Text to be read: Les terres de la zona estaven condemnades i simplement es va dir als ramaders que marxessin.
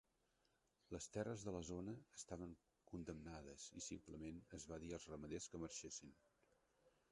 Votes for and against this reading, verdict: 1, 4, rejected